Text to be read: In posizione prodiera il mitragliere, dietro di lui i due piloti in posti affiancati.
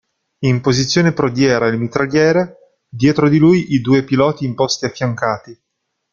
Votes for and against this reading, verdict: 2, 0, accepted